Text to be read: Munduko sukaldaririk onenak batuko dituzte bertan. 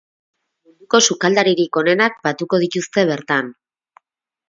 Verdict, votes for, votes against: rejected, 0, 4